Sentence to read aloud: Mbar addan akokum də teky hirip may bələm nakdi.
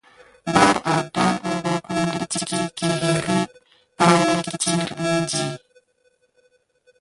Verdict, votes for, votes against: rejected, 0, 2